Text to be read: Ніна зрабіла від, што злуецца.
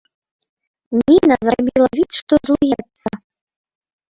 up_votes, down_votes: 0, 2